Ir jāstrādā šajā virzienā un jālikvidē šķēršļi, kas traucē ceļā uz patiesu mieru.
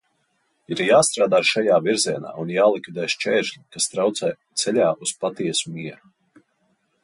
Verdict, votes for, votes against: accepted, 2, 0